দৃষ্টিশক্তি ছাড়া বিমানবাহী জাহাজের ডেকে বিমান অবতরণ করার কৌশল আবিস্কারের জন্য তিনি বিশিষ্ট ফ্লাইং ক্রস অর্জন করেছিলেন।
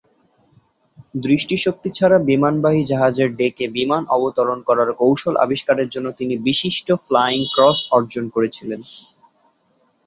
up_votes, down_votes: 2, 0